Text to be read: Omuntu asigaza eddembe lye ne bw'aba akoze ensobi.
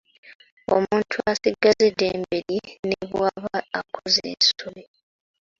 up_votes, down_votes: 0, 2